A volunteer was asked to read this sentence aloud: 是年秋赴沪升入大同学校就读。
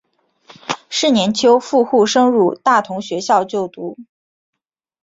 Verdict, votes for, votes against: accepted, 3, 1